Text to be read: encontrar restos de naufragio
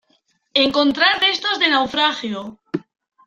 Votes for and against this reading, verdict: 2, 1, accepted